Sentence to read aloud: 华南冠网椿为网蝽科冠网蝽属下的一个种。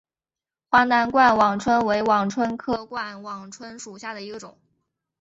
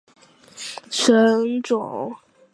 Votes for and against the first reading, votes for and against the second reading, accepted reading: 2, 0, 0, 2, first